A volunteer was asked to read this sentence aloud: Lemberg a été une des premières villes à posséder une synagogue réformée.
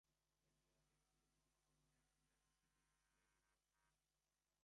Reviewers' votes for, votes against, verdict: 0, 2, rejected